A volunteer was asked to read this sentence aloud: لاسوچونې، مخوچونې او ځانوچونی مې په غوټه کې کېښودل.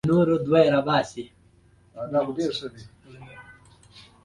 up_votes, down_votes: 0, 2